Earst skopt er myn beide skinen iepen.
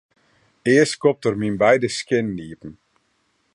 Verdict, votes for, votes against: rejected, 0, 2